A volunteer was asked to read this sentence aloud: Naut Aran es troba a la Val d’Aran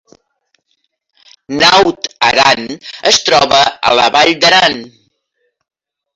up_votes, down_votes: 0, 2